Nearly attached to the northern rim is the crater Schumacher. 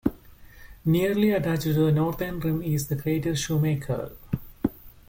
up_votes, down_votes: 1, 2